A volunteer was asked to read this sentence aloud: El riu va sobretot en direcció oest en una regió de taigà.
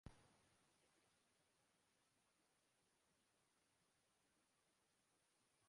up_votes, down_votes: 0, 2